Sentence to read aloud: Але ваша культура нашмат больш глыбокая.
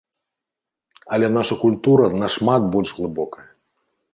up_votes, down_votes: 0, 2